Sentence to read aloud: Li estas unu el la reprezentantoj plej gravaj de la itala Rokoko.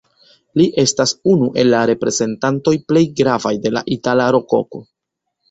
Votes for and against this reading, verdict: 1, 2, rejected